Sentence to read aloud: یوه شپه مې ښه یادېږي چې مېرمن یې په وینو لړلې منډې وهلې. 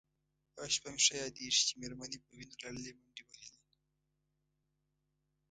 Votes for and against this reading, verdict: 2, 1, accepted